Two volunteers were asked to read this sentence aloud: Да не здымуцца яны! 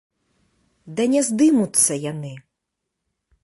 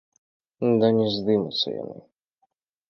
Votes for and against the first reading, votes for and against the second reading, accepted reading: 2, 0, 1, 2, first